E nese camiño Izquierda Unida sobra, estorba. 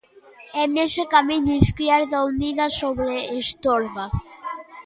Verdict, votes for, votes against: rejected, 0, 2